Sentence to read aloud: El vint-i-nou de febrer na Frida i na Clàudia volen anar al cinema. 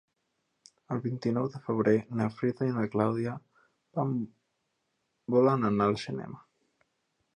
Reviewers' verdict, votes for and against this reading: rejected, 0, 2